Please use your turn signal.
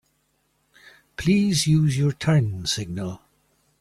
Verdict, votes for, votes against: accepted, 3, 0